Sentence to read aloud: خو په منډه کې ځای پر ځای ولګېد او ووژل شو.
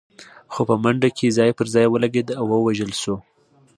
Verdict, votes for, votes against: accepted, 2, 0